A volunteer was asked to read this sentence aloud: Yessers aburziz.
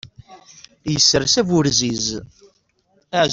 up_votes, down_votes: 2, 0